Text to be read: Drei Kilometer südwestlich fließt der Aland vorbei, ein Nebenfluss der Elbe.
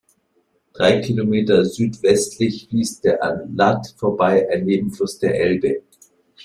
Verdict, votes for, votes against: rejected, 0, 2